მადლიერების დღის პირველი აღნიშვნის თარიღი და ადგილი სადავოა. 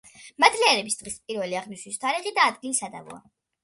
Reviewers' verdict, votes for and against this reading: accepted, 2, 0